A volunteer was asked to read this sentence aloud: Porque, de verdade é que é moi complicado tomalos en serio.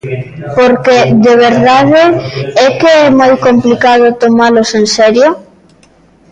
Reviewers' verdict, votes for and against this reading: accepted, 2, 0